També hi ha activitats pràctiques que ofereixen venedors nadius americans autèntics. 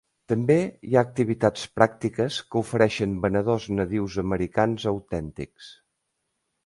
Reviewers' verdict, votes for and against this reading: accepted, 2, 0